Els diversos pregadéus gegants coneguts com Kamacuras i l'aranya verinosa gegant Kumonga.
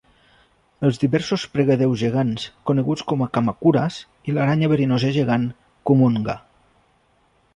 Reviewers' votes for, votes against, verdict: 1, 2, rejected